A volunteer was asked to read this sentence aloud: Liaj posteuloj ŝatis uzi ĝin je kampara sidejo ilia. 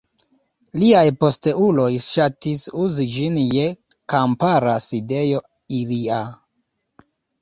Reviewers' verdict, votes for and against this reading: accepted, 2, 0